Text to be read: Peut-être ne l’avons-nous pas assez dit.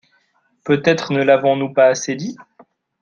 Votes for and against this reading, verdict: 2, 1, accepted